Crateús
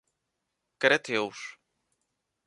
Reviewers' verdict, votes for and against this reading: rejected, 0, 2